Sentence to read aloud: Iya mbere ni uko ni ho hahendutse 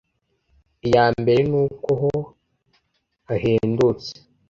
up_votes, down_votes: 0, 2